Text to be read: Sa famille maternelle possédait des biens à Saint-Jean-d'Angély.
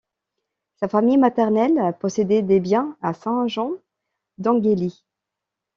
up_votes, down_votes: 2, 0